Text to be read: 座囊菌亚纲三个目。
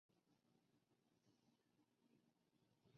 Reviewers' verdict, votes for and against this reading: rejected, 0, 2